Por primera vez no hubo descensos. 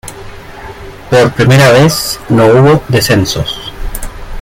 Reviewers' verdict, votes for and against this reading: rejected, 0, 2